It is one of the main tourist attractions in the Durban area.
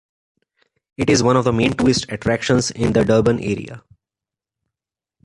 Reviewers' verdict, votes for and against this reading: accepted, 2, 0